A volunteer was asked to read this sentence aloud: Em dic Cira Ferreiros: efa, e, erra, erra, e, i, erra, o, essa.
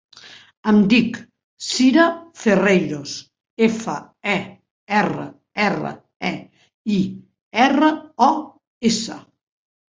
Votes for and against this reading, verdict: 3, 0, accepted